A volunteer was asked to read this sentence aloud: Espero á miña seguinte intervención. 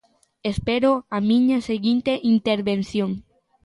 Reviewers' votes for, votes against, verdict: 2, 0, accepted